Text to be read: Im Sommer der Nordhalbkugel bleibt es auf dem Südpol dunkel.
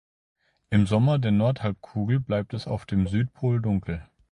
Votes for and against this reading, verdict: 2, 0, accepted